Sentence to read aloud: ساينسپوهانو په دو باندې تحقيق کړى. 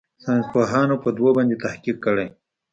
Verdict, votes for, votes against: accepted, 2, 0